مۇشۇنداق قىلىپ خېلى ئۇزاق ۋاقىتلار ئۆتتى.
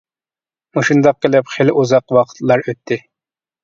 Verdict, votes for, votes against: accepted, 2, 0